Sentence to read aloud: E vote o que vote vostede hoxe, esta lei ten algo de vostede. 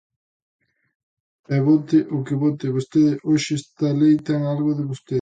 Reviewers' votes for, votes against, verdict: 1, 2, rejected